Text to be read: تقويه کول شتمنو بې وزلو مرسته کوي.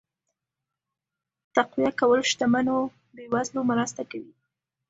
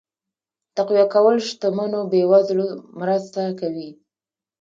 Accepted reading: first